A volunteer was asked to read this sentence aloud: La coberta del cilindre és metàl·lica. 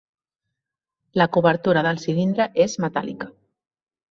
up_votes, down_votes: 0, 2